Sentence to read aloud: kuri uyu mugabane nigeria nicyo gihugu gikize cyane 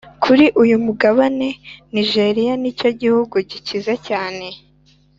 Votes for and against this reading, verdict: 2, 0, accepted